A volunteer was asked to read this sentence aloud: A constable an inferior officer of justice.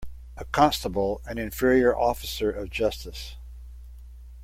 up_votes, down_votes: 2, 0